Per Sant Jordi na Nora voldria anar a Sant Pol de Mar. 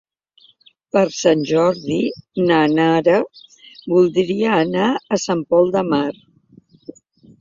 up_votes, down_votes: 1, 2